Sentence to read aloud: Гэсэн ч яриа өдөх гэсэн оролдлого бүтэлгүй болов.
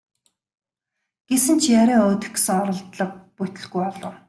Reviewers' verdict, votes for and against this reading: accepted, 2, 0